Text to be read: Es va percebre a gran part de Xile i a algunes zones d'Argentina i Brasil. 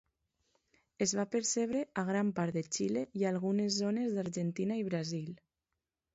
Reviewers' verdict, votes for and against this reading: accepted, 2, 0